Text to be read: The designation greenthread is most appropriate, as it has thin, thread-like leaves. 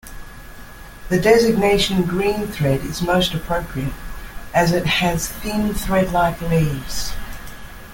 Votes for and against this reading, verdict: 1, 2, rejected